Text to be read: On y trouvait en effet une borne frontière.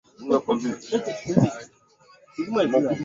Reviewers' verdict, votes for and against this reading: rejected, 0, 2